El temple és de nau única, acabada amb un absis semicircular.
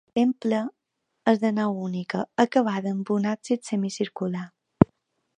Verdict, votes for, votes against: rejected, 1, 2